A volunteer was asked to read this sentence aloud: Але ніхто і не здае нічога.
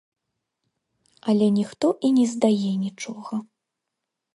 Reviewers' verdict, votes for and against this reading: accepted, 2, 0